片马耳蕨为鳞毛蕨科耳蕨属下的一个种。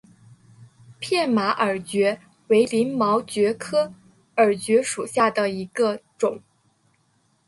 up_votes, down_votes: 3, 0